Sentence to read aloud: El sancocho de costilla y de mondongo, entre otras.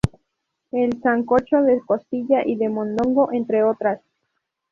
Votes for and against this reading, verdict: 0, 2, rejected